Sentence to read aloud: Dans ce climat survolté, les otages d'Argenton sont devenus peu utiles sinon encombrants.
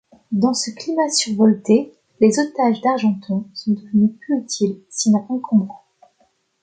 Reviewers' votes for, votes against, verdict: 1, 2, rejected